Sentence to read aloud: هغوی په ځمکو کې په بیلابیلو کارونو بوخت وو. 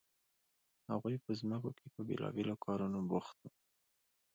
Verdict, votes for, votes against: rejected, 0, 2